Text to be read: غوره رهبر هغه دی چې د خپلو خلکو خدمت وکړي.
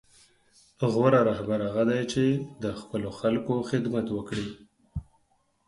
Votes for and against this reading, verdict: 4, 0, accepted